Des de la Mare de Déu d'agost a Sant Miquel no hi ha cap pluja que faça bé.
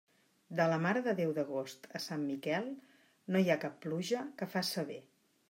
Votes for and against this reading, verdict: 0, 2, rejected